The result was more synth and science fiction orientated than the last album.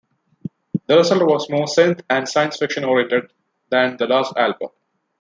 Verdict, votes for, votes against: rejected, 0, 2